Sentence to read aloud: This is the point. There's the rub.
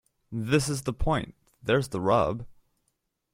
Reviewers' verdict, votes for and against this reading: rejected, 1, 2